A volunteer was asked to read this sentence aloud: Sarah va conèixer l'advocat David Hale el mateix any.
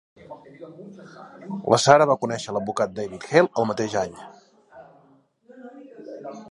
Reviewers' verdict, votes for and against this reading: rejected, 0, 2